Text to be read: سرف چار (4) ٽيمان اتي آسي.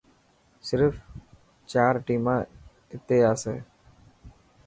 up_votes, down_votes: 0, 2